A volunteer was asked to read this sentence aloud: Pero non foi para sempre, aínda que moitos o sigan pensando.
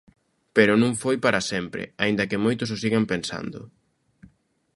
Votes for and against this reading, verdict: 2, 0, accepted